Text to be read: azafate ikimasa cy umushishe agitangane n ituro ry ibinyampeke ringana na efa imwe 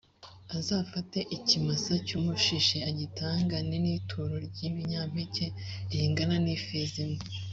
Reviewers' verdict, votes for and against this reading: accepted, 3, 0